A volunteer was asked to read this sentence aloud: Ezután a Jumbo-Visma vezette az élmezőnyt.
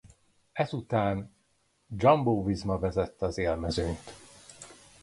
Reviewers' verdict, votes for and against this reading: rejected, 0, 2